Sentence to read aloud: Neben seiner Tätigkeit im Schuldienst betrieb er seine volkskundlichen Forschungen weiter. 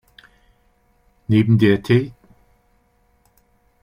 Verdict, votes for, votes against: rejected, 0, 2